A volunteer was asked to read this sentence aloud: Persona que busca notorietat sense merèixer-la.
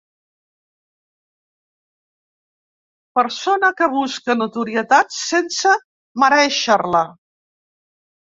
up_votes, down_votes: 2, 0